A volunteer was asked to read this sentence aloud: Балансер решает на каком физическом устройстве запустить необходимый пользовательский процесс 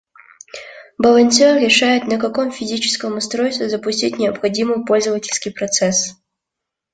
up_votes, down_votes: 2, 1